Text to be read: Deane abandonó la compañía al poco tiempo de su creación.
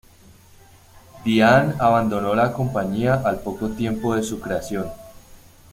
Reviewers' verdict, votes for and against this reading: rejected, 1, 2